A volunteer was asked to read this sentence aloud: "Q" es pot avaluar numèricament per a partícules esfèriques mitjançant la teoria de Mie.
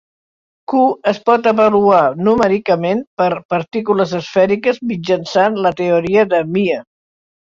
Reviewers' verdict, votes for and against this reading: rejected, 0, 2